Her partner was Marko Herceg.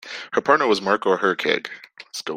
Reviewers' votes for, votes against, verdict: 1, 2, rejected